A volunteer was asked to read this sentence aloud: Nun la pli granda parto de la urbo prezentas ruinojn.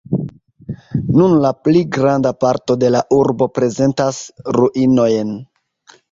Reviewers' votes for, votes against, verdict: 2, 0, accepted